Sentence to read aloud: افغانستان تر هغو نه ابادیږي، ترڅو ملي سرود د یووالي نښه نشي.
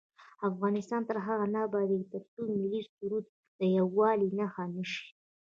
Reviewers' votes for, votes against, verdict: 1, 2, rejected